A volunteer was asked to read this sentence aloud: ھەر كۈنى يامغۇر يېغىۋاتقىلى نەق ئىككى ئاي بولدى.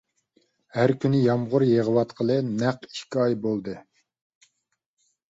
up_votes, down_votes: 3, 0